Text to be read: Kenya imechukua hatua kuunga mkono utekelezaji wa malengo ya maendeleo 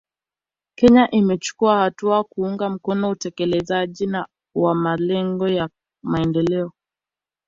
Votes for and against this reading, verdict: 2, 3, rejected